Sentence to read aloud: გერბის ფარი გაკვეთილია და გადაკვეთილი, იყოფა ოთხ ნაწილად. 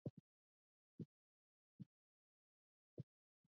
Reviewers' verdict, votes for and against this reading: rejected, 0, 2